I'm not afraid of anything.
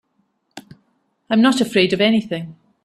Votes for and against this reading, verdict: 5, 0, accepted